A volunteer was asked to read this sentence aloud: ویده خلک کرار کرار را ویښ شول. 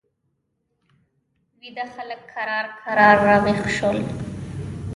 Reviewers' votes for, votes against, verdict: 1, 2, rejected